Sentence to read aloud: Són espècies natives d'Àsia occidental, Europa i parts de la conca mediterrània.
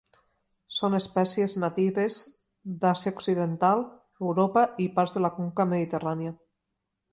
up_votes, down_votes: 2, 0